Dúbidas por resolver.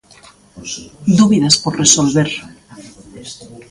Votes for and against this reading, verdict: 1, 2, rejected